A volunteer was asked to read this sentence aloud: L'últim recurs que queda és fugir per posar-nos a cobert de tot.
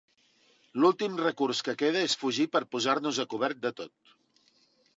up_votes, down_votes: 4, 0